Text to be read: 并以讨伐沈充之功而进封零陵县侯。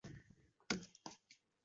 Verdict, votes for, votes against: rejected, 0, 3